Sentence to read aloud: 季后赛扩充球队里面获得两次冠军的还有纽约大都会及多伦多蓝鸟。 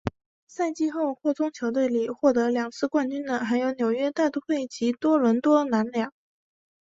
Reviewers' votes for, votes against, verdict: 2, 0, accepted